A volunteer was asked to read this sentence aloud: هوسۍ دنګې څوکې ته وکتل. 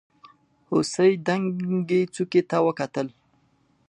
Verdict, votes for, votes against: accepted, 2, 1